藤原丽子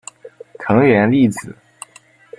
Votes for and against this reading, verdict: 2, 0, accepted